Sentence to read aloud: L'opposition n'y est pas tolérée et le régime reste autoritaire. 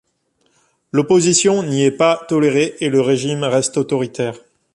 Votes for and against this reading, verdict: 2, 0, accepted